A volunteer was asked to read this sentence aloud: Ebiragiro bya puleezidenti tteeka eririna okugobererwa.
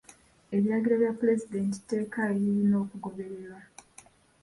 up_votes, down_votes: 2, 1